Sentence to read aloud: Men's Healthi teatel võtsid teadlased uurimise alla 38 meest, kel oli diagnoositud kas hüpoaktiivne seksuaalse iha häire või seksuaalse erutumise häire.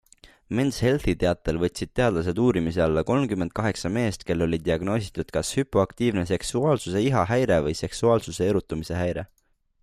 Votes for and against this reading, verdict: 0, 2, rejected